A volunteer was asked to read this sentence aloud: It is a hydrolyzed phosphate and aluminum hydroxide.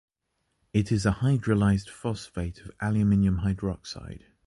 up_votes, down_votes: 0, 2